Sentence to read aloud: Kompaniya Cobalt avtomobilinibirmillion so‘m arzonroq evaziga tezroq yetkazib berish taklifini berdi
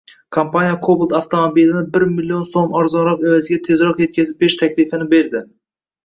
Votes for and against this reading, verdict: 1, 2, rejected